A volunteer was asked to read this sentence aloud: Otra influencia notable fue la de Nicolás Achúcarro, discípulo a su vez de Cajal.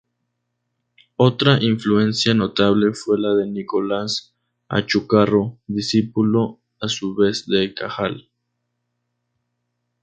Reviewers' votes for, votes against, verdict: 0, 2, rejected